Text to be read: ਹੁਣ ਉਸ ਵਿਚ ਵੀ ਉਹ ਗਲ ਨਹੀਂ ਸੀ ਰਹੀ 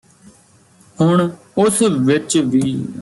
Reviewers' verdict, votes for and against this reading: rejected, 1, 2